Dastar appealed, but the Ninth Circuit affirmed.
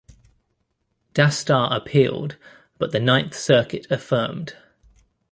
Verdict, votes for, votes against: accepted, 2, 0